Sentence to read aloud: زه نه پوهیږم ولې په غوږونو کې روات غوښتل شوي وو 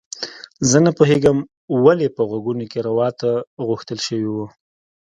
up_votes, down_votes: 2, 0